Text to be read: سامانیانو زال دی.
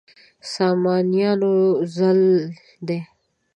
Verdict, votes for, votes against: rejected, 0, 2